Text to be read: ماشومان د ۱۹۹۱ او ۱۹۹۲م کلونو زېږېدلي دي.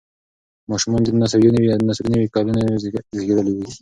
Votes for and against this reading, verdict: 0, 2, rejected